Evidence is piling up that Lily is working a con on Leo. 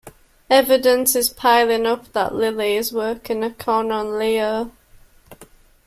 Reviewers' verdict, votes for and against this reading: accepted, 2, 0